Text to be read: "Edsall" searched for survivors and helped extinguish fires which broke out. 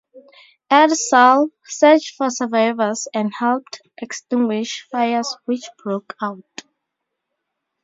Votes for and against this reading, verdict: 0, 2, rejected